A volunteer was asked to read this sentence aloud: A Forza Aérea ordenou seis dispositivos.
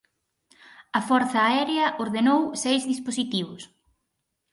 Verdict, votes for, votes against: accepted, 4, 0